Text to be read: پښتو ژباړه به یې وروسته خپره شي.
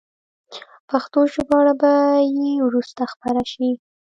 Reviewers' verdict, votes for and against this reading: rejected, 1, 2